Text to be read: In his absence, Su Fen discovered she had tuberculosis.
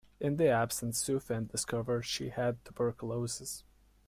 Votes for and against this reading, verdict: 1, 2, rejected